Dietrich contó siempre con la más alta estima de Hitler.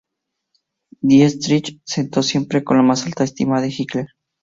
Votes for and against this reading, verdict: 2, 0, accepted